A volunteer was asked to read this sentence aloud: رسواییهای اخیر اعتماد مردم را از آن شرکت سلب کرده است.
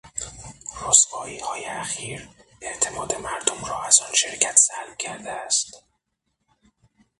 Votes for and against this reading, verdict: 6, 3, accepted